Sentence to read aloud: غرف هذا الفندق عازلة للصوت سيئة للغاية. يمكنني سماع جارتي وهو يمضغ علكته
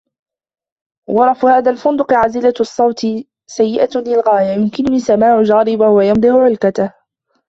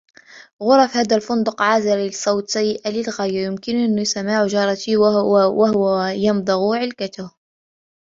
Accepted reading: second